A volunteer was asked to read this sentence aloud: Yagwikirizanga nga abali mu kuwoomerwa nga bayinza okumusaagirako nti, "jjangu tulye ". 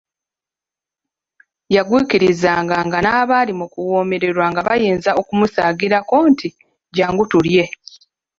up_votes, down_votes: 0, 2